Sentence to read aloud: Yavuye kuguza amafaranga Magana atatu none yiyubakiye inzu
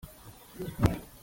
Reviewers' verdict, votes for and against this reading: rejected, 0, 2